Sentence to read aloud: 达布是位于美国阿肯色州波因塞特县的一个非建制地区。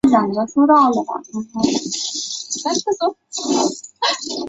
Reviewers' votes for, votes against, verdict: 0, 2, rejected